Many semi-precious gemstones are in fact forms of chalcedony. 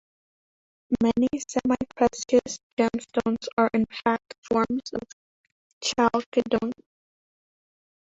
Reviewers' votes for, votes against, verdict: 1, 2, rejected